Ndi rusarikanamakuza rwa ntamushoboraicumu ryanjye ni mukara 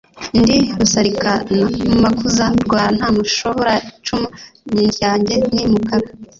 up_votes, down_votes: 0, 2